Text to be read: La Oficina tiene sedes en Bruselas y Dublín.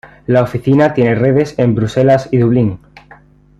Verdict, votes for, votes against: rejected, 0, 2